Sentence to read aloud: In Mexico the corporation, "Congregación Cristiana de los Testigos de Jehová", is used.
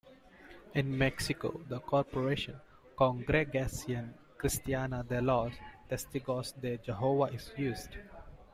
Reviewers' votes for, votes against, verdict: 2, 1, accepted